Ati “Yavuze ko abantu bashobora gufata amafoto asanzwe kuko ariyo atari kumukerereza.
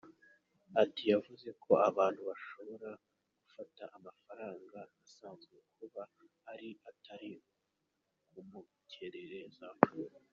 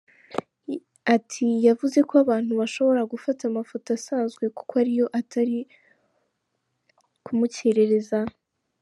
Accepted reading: second